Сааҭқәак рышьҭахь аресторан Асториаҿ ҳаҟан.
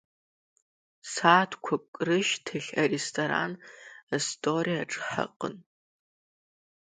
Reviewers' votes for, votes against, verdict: 2, 1, accepted